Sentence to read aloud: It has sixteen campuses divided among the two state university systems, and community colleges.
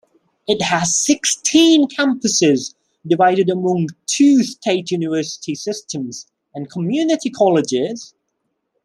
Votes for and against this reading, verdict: 0, 2, rejected